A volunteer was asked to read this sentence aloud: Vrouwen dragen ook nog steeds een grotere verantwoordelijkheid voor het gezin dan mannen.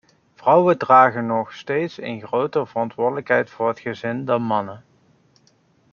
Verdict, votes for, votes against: rejected, 0, 2